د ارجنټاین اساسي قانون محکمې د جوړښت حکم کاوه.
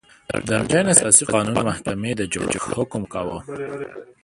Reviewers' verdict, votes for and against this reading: rejected, 0, 2